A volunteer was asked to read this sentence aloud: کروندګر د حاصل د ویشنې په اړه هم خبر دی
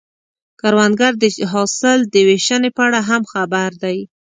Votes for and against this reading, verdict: 2, 0, accepted